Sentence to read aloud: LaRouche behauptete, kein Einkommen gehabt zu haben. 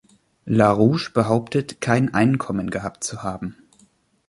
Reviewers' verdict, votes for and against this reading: rejected, 1, 2